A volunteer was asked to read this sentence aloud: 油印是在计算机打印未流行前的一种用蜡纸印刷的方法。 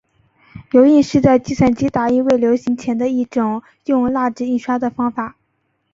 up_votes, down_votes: 2, 0